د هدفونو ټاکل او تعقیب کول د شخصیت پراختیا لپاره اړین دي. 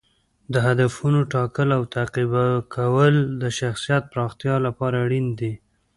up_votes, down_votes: 0, 2